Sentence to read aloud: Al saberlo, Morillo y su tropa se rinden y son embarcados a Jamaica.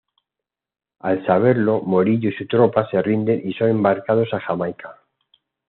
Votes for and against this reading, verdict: 2, 0, accepted